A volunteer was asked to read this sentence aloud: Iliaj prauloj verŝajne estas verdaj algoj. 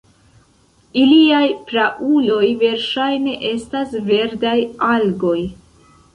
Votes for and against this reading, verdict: 2, 1, accepted